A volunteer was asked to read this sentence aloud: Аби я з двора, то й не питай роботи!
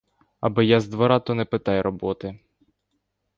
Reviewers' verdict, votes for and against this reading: rejected, 0, 2